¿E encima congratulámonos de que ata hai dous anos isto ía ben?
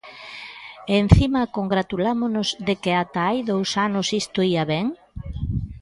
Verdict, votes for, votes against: accepted, 2, 0